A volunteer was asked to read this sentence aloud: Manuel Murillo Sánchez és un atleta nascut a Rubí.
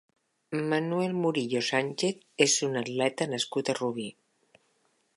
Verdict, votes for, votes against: accepted, 6, 1